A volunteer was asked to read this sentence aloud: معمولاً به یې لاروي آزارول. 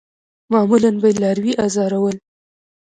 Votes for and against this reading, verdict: 2, 0, accepted